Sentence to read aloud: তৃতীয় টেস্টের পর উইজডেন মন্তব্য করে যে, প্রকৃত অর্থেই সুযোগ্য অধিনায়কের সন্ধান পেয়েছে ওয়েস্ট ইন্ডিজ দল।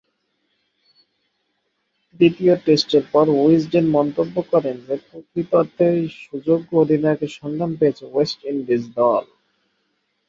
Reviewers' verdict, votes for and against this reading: rejected, 2, 3